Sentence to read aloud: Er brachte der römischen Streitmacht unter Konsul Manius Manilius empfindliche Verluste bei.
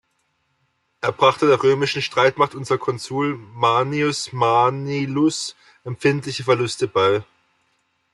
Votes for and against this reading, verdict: 0, 2, rejected